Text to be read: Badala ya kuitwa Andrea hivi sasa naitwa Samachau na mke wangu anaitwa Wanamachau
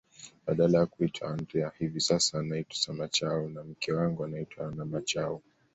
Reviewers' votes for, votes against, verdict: 2, 0, accepted